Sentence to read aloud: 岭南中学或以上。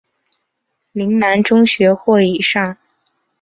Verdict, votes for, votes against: accepted, 8, 0